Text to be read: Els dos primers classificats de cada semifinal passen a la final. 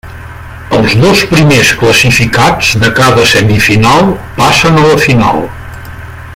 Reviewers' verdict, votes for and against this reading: rejected, 1, 2